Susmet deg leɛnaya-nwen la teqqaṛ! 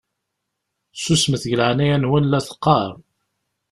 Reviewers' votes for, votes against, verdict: 2, 0, accepted